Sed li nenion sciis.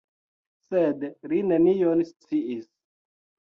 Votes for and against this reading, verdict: 2, 0, accepted